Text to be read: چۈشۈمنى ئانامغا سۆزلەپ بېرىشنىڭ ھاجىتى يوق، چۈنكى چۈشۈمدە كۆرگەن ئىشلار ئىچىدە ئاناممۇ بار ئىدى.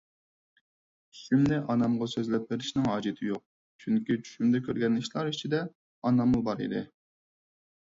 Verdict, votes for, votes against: rejected, 2, 4